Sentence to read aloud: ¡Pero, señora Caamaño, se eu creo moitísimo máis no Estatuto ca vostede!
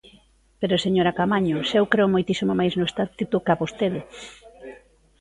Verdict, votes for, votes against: rejected, 0, 2